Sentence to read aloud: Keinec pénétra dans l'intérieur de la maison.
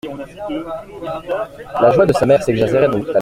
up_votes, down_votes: 0, 2